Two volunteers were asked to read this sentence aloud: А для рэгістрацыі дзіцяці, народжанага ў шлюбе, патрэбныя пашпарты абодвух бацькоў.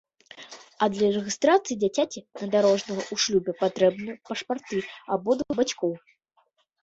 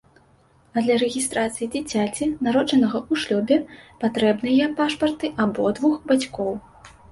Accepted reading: second